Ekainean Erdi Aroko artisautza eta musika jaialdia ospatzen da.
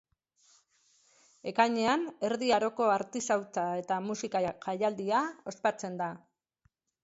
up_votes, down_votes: 0, 3